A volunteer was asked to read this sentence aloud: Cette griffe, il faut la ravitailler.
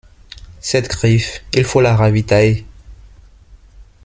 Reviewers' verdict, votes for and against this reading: rejected, 1, 2